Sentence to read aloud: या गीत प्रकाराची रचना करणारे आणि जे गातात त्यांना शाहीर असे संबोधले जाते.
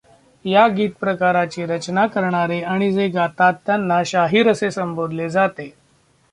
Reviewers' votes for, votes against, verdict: 0, 2, rejected